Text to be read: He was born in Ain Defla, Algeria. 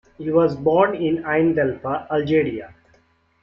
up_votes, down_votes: 0, 2